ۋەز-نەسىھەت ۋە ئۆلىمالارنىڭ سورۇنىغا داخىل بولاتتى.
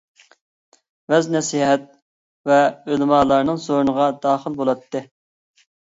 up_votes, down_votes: 2, 0